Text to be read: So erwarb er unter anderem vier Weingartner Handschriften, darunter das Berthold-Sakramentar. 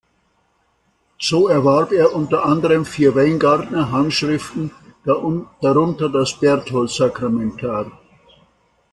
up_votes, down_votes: 1, 2